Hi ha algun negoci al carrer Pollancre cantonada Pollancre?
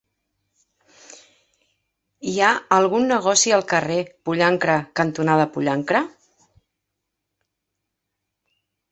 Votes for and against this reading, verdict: 2, 0, accepted